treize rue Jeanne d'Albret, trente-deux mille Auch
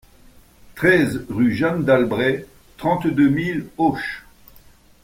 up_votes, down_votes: 2, 0